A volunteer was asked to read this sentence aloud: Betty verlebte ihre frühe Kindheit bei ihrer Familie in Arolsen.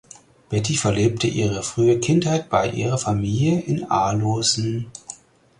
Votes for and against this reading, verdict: 0, 4, rejected